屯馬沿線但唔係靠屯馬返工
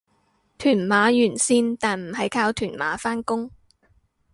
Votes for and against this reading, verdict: 2, 0, accepted